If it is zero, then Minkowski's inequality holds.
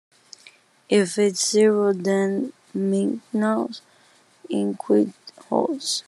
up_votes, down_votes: 1, 2